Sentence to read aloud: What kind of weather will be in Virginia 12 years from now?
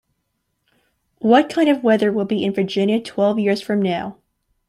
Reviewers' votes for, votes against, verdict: 0, 2, rejected